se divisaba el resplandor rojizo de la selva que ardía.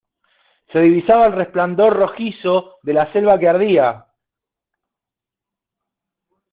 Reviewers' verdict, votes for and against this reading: accepted, 2, 1